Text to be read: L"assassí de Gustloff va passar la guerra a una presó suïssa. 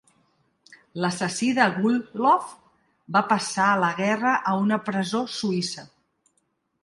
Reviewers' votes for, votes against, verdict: 3, 0, accepted